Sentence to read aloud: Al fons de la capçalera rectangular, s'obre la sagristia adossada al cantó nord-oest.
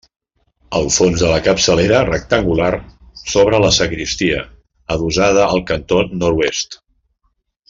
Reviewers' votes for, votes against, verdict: 1, 2, rejected